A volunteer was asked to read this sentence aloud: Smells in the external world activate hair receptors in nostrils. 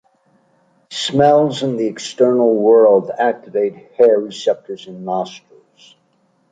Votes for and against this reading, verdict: 2, 0, accepted